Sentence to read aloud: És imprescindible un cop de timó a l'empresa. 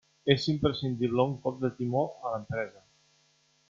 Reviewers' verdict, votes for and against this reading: accepted, 2, 1